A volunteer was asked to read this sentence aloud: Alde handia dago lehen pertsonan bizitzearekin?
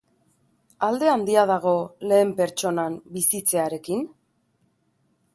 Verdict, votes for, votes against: accepted, 2, 0